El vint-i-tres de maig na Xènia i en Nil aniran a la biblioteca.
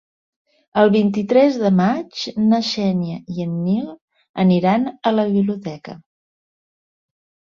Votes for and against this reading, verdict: 2, 0, accepted